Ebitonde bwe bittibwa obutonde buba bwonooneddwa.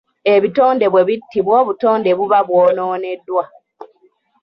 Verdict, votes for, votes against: rejected, 1, 2